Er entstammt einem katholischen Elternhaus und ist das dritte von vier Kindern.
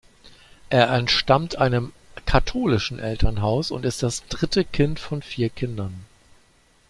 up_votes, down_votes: 0, 2